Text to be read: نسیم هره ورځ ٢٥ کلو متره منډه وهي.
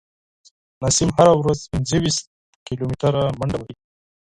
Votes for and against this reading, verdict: 0, 2, rejected